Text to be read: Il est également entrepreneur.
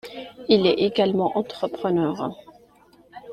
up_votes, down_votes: 2, 0